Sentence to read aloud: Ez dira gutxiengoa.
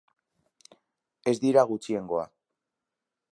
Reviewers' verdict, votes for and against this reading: accepted, 2, 0